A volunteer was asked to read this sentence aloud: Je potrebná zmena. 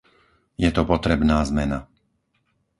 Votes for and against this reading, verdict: 0, 4, rejected